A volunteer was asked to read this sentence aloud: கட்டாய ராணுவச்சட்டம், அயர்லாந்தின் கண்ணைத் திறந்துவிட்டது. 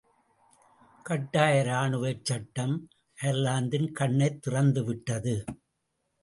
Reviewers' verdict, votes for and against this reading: accepted, 2, 0